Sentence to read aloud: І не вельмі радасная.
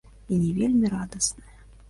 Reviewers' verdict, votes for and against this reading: rejected, 1, 2